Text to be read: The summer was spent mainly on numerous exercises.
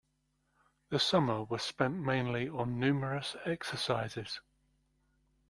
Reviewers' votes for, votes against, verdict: 2, 0, accepted